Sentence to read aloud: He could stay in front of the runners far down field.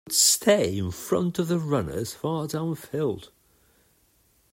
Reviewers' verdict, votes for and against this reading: rejected, 1, 2